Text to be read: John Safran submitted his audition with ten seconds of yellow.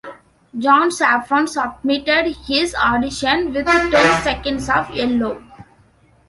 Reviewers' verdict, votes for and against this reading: accepted, 2, 0